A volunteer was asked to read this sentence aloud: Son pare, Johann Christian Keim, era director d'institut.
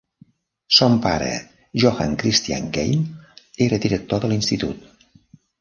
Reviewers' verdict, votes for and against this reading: rejected, 0, 2